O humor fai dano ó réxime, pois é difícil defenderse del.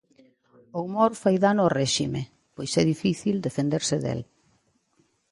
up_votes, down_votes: 2, 0